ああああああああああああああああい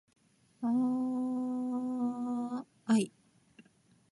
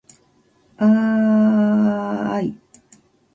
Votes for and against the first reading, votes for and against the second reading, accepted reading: 1, 2, 2, 0, second